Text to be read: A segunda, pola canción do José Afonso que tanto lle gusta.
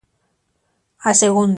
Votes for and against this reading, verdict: 0, 2, rejected